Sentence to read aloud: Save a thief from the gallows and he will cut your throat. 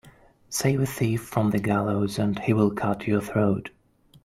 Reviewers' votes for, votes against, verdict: 2, 0, accepted